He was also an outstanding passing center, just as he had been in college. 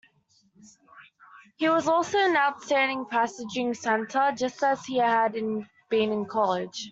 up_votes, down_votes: 0, 2